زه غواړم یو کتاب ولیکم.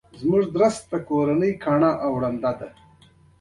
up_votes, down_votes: 2, 0